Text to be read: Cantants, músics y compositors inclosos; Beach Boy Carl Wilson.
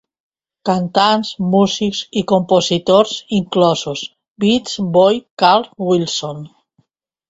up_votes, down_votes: 2, 0